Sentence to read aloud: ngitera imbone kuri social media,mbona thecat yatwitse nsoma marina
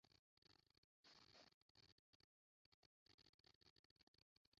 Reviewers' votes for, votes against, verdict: 0, 2, rejected